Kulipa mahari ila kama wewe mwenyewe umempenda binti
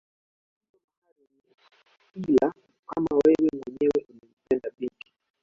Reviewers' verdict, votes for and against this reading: rejected, 0, 2